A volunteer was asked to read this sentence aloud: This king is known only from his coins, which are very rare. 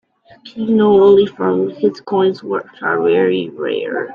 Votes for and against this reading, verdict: 0, 2, rejected